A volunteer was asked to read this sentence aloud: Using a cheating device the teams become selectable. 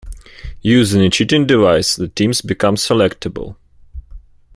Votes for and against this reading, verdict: 2, 0, accepted